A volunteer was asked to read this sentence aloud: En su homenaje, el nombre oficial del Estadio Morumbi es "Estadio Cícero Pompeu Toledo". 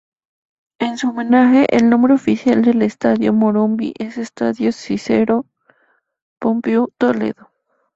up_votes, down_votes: 0, 2